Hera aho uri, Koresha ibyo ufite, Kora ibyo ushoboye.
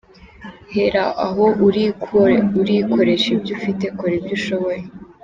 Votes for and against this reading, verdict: 1, 2, rejected